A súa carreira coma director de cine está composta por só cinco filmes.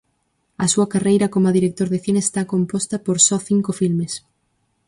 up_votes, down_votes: 4, 0